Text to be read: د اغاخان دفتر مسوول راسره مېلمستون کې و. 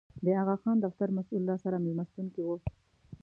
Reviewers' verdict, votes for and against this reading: rejected, 1, 2